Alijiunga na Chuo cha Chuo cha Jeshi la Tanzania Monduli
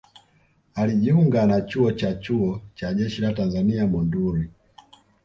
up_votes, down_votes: 2, 0